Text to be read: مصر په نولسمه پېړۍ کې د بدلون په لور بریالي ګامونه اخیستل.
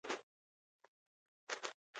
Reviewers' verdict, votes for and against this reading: rejected, 1, 2